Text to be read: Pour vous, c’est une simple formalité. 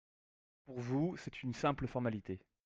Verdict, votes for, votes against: accepted, 2, 0